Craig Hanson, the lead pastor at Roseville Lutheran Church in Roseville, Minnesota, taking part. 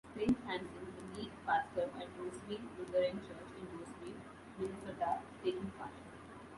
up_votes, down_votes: 0, 2